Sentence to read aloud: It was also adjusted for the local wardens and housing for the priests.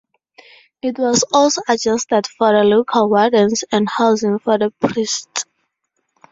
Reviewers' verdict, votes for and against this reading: rejected, 2, 4